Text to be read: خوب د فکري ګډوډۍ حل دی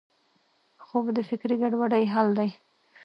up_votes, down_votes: 2, 0